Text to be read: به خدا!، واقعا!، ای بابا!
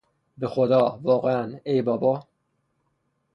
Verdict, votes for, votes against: accepted, 3, 0